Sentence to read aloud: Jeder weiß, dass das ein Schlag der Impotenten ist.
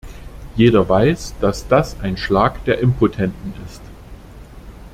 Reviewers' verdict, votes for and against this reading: accepted, 2, 0